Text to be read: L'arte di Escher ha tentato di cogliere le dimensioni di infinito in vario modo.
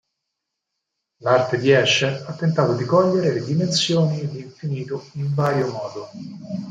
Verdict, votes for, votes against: accepted, 4, 2